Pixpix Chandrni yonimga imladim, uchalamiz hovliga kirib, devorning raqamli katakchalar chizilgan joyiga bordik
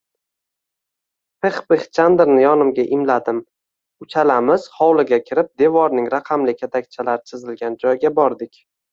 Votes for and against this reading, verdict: 2, 1, accepted